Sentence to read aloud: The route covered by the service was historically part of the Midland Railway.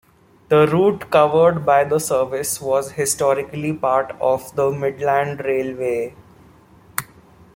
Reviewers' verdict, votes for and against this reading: rejected, 1, 2